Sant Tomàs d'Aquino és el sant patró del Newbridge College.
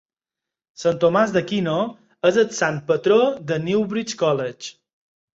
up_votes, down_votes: 6, 2